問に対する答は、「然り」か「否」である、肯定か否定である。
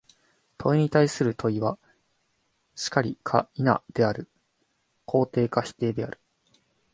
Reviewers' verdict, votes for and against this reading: rejected, 0, 2